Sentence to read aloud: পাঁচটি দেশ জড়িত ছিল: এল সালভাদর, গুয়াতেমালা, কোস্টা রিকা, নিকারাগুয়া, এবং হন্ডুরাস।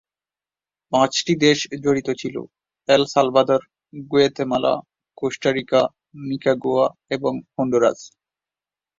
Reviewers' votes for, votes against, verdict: 0, 2, rejected